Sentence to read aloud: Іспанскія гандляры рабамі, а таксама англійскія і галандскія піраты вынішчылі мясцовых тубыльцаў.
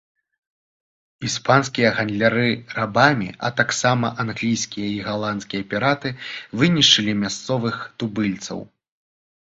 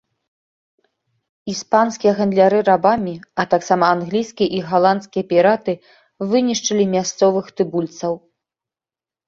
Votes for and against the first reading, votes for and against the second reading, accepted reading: 2, 0, 0, 2, first